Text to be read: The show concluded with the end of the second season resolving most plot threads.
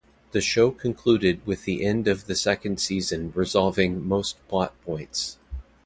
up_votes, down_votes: 0, 2